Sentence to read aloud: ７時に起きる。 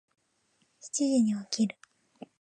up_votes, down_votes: 0, 2